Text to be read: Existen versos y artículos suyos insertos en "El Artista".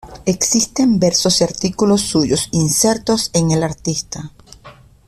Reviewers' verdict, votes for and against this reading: accepted, 2, 1